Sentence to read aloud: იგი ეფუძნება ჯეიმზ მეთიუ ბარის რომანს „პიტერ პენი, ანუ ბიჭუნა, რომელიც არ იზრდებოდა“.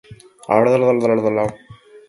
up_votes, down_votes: 0, 2